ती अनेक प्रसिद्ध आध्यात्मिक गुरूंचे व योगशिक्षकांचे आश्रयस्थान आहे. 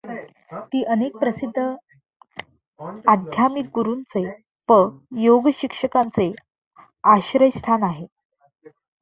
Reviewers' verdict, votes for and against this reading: rejected, 0, 2